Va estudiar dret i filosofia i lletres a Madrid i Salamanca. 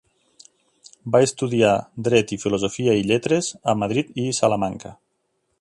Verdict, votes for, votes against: accepted, 2, 0